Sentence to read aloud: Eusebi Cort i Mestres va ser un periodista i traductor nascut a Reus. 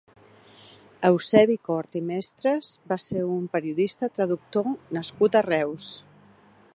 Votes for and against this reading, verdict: 1, 2, rejected